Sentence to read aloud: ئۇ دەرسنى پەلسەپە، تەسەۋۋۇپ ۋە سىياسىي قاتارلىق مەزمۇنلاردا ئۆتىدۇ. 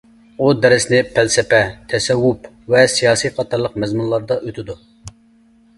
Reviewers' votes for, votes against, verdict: 2, 0, accepted